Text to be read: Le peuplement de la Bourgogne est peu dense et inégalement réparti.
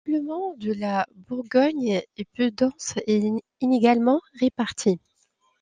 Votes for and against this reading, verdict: 0, 2, rejected